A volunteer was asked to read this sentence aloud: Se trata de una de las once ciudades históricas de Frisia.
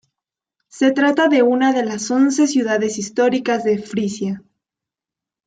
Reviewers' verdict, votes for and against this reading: accepted, 2, 0